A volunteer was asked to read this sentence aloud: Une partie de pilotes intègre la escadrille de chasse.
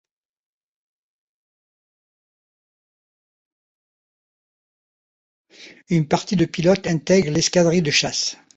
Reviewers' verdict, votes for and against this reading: rejected, 1, 3